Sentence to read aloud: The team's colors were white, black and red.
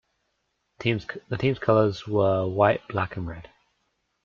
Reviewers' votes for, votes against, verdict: 1, 2, rejected